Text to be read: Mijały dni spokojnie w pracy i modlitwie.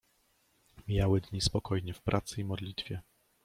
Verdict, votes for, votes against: accepted, 2, 0